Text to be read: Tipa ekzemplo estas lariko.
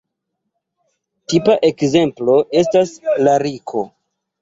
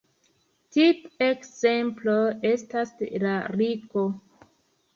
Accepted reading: first